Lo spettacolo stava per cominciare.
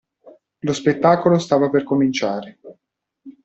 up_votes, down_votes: 2, 0